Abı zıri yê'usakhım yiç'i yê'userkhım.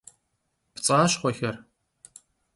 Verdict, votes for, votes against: rejected, 0, 2